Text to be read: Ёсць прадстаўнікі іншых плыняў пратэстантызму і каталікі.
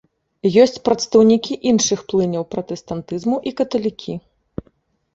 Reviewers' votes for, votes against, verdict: 3, 1, accepted